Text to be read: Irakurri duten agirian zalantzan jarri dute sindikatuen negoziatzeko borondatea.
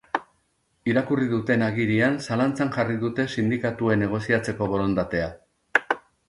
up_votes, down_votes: 3, 0